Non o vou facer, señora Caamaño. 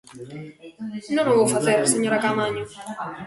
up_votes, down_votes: 1, 2